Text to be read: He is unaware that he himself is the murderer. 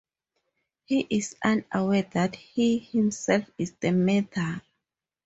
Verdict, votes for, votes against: rejected, 0, 4